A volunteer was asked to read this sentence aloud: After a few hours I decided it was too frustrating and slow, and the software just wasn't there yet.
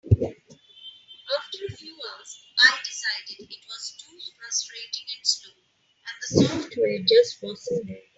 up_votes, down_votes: 2, 4